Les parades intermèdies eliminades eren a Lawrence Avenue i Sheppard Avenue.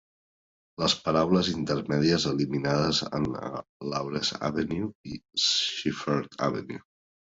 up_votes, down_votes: 1, 2